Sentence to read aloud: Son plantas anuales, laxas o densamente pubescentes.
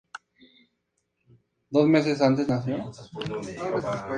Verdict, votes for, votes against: rejected, 0, 2